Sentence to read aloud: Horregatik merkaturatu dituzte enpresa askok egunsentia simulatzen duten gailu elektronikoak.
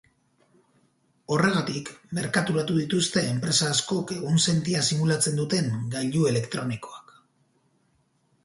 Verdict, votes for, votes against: rejected, 2, 2